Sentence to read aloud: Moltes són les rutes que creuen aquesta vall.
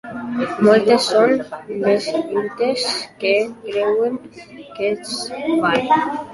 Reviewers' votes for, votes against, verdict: 0, 2, rejected